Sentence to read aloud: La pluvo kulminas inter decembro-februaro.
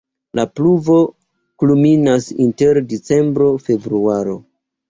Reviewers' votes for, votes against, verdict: 0, 2, rejected